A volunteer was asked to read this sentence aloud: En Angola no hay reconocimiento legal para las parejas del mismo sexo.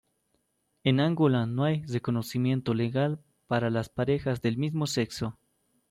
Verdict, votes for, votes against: rejected, 1, 2